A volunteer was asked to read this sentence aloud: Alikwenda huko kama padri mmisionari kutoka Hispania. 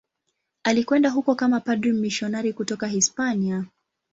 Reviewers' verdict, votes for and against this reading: accepted, 12, 1